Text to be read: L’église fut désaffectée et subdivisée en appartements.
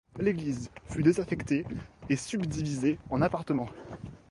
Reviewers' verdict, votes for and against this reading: accepted, 2, 0